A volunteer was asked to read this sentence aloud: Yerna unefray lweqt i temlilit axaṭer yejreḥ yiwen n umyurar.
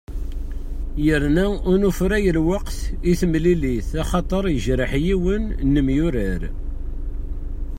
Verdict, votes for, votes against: rejected, 0, 2